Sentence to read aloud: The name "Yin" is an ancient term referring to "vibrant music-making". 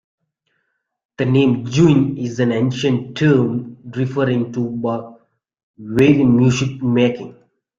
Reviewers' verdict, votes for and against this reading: rejected, 0, 2